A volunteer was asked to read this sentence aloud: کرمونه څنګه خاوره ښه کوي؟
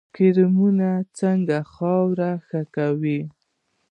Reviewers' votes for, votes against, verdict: 1, 2, rejected